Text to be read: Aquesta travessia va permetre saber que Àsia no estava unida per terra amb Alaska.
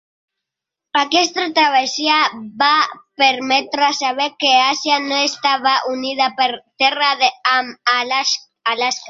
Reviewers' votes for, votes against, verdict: 0, 2, rejected